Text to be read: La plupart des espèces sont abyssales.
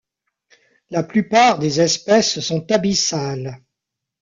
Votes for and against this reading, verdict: 0, 2, rejected